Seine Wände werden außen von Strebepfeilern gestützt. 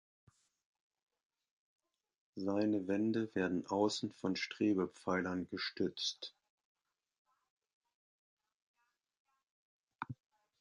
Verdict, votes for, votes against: accepted, 2, 0